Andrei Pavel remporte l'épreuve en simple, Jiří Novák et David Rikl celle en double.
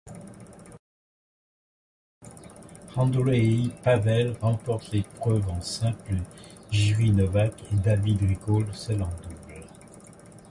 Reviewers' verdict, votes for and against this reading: accepted, 2, 0